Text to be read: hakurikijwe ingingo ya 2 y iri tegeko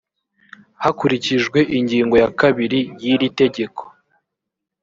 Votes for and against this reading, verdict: 0, 2, rejected